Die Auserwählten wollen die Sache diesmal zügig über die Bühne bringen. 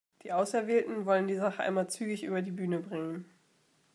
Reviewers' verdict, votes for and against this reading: rejected, 0, 2